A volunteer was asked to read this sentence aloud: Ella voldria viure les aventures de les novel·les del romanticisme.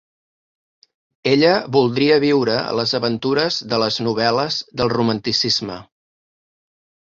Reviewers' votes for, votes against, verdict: 3, 0, accepted